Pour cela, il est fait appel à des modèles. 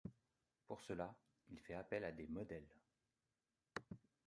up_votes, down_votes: 1, 2